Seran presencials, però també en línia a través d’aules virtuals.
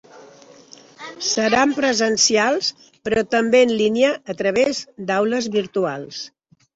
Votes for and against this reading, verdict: 3, 0, accepted